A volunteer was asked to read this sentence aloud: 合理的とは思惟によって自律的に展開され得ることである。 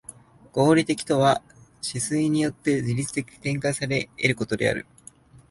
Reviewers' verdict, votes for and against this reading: accepted, 2, 0